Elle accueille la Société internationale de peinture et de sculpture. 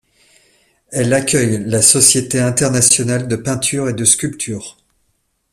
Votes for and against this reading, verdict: 2, 0, accepted